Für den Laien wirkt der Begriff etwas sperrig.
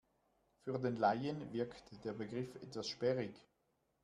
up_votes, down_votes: 2, 0